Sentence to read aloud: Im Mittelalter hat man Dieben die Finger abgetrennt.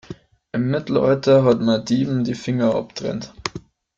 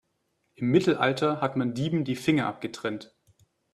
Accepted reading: second